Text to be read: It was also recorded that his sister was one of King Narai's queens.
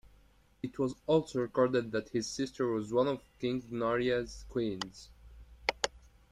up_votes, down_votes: 2, 0